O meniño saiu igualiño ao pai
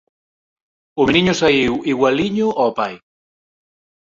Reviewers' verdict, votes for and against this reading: rejected, 2, 4